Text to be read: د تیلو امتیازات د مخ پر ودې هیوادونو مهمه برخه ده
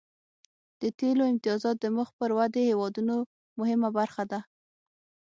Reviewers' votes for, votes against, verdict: 6, 0, accepted